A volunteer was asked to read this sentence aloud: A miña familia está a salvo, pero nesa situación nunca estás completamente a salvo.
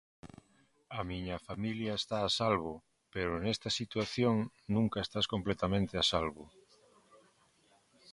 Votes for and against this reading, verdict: 0, 2, rejected